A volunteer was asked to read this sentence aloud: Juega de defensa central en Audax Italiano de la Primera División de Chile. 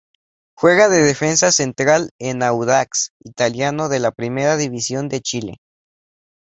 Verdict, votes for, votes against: accepted, 2, 0